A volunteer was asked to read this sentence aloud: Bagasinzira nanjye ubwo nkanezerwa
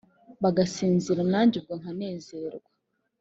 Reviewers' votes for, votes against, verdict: 7, 0, accepted